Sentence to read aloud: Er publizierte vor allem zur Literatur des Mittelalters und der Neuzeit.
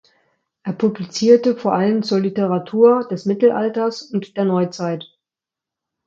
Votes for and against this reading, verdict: 2, 0, accepted